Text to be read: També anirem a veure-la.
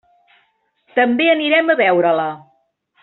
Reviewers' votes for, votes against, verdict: 3, 0, accepted